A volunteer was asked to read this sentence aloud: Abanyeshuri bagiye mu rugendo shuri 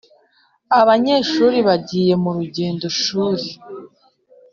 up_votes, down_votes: 2, 0